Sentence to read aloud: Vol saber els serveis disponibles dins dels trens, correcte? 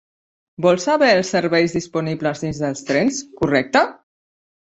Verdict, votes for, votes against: rejected, 0, 2